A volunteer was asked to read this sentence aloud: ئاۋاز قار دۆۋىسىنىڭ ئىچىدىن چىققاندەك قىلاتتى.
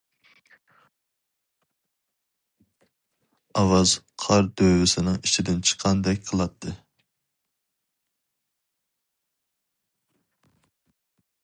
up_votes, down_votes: 2, 0